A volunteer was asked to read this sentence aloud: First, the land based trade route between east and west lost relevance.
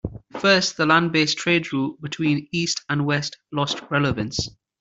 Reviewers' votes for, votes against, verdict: 2, 0, accepted